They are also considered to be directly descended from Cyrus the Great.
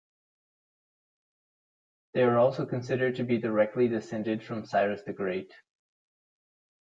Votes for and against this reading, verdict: 2, 0, accepted